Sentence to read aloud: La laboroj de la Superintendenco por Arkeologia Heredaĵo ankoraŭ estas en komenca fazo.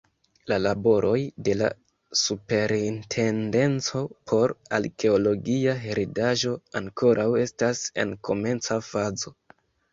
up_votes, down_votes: 2, 0